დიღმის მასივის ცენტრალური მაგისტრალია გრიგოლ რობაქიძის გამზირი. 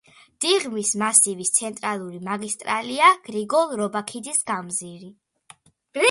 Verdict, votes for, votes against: accepted, 2, 1